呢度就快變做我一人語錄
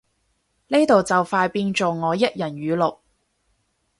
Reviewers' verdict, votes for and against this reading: accepted, 4, 0